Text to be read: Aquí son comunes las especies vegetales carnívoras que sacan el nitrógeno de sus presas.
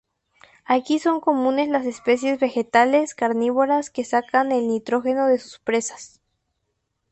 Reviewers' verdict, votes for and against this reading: accepted, 2, 0